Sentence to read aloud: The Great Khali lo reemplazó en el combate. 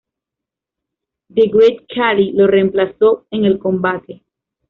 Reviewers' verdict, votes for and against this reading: accepted, 2, 1